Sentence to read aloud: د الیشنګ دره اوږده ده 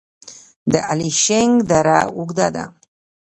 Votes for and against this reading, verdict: 2, 0, accepted